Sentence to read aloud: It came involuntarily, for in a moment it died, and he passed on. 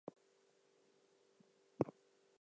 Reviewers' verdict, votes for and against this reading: rejected, 0, 4